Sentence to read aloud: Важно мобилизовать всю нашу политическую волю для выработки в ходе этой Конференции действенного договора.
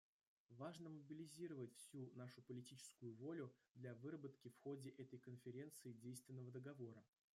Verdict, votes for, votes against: rejected, 1, 2